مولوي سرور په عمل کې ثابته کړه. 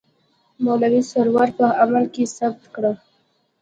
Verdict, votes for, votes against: accepted, 2, 0